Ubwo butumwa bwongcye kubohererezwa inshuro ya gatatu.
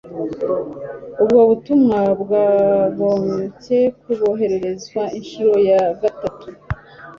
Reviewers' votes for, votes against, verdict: 1, 2, rejected